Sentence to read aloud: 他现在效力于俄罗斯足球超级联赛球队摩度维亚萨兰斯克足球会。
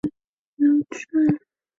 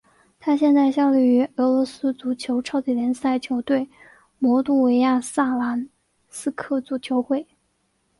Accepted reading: second